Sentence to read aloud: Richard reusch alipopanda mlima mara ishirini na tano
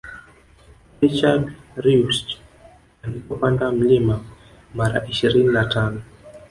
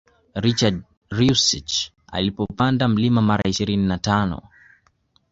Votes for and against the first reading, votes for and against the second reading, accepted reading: 0, 2, 2, 1, second